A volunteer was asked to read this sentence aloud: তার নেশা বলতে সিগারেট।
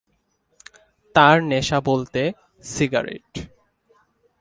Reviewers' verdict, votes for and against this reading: accepted, 2, 0